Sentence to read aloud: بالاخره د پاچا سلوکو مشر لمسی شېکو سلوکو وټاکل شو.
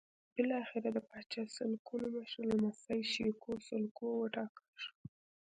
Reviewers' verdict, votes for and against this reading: accepted, 2, 0